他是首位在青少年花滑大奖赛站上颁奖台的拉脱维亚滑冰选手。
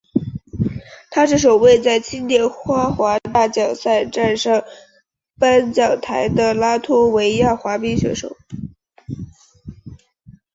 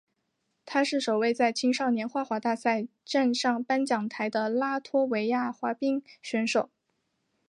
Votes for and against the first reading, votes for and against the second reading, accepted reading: 1, 2, 2, 0, second